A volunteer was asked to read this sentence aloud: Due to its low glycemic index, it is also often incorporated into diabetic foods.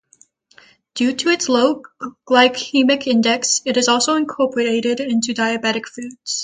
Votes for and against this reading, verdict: 0, 3, rejected